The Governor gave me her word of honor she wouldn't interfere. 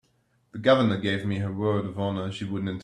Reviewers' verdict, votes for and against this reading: rejected, 0, 2